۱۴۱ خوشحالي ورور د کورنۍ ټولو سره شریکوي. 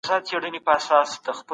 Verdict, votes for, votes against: rejected, 0, 2